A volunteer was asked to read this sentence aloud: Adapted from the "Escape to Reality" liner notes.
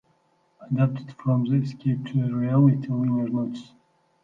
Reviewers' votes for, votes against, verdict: 0, 2, rejected